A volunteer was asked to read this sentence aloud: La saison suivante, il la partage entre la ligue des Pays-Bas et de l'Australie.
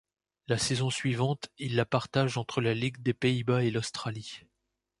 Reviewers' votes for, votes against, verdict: 1, 2, rejected